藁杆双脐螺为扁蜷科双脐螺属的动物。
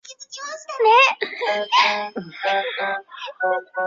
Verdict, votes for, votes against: rejected, 2, 7